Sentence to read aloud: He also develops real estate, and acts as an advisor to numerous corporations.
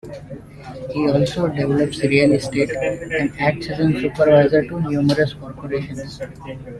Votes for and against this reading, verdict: 2, 1, accepted